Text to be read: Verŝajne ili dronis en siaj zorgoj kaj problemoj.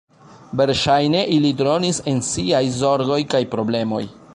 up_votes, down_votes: 2, 0